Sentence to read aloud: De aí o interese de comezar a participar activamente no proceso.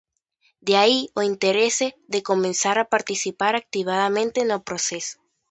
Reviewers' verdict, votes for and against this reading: rejected, 0, 2